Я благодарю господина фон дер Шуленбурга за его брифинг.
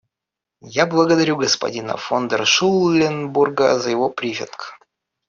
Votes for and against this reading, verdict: 1, 2, rejected